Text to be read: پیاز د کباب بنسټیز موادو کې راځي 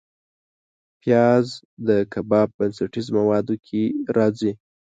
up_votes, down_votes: 2, 0